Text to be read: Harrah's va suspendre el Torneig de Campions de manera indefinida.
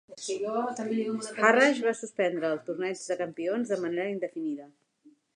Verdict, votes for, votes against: rejected, 0, 2